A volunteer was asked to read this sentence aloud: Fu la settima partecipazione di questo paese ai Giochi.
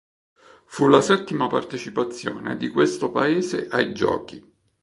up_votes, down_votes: 2, 0